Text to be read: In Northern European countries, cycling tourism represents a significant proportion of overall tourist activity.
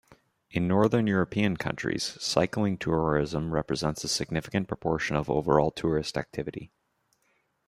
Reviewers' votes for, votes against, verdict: 2, 0, accepted